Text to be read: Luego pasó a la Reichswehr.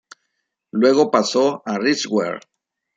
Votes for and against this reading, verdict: 0, 2, rejected